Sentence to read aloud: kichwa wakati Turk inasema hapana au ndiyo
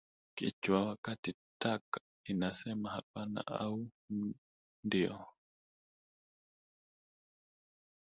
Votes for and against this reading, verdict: 1, 2, rejected